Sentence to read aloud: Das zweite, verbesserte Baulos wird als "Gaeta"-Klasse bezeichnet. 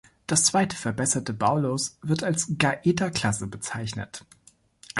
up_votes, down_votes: 2, 0